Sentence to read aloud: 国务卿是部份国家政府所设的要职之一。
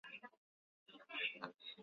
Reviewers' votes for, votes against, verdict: 0, 2, rejected